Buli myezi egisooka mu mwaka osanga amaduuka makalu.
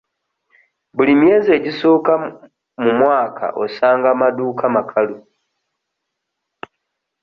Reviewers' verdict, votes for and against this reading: rejected, 1, 2